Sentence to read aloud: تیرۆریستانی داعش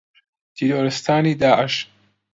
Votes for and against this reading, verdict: 2, 0, accepted